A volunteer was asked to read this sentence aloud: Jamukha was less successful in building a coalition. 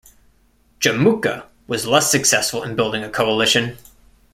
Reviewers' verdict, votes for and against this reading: accepted, 2, 0